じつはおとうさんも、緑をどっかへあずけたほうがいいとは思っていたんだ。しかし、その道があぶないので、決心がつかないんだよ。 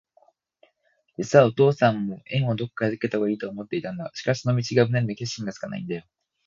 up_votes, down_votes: 9, 18